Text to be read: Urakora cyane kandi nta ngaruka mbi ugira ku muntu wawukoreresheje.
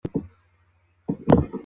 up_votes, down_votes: 0, 3